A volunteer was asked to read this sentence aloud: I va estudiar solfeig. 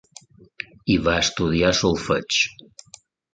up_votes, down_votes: 2, 0